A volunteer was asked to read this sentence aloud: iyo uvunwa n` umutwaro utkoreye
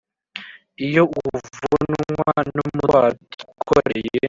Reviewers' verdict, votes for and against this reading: rejected, 1, 2